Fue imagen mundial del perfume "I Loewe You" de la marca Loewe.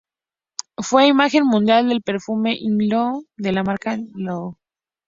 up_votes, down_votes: 0, 6